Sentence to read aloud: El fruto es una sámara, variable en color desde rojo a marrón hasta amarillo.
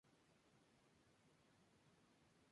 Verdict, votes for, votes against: rejected, 0, 2